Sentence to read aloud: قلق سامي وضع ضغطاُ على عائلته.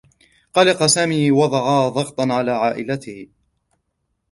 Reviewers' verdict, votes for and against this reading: rejected, 0, 2